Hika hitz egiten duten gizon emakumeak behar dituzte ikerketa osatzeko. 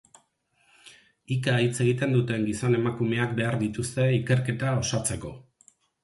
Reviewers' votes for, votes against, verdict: 6, 0, accepted